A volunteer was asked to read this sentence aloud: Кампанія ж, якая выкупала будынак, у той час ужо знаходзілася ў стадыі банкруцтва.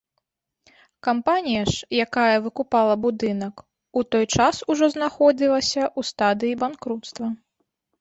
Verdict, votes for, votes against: accepted, 2, 0